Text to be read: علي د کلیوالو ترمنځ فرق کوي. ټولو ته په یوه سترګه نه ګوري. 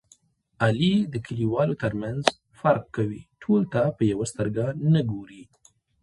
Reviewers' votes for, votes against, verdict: 1, 2, rejected